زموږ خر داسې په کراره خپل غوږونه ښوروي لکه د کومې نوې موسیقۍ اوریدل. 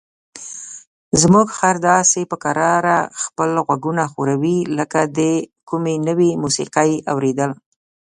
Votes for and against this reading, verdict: 2, 0, accepted